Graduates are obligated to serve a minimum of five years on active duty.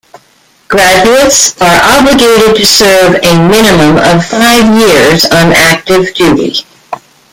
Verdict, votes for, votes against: rejected, 1, 2